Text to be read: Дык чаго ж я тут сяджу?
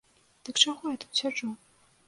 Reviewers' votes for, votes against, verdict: 1, 2, rejected